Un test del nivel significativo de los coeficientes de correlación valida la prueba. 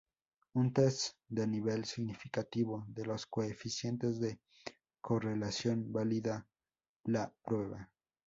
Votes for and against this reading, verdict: 2, 0, accepted